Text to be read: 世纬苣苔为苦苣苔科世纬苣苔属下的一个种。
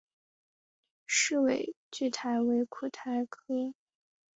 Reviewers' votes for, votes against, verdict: 1, 2, rejected